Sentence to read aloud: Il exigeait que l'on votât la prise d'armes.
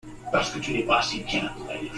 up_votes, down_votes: 0, 2